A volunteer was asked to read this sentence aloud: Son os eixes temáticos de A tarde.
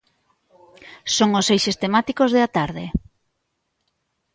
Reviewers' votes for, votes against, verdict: 2, 1, accepted